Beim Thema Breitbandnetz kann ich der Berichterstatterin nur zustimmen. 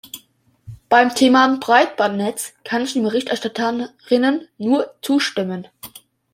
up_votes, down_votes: 0, 2